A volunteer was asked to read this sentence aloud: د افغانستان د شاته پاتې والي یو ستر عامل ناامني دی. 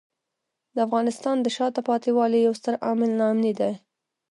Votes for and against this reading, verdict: 0, 2, rejected